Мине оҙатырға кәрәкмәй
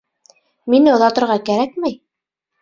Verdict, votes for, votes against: rejected, 0, 2